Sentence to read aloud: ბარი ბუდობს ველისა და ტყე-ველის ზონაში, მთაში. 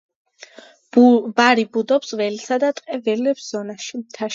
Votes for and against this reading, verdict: 2, 0, accepted